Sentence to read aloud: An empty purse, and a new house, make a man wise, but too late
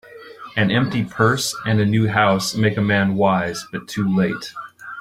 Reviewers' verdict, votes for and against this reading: accepted, 2, 0